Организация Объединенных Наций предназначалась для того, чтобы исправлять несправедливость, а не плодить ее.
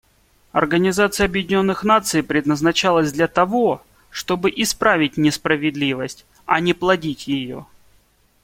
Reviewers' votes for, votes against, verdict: 1, 2, rejected